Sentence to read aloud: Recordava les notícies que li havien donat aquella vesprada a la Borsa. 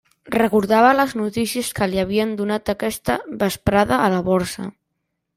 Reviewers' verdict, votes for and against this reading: rejected, 0, 2